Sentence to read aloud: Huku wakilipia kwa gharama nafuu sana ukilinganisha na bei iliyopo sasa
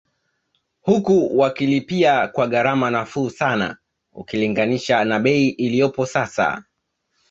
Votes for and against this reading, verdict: 2, 1, accepted